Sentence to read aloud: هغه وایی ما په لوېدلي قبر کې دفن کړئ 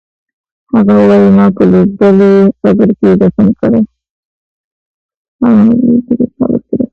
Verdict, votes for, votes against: rejected, 0, 2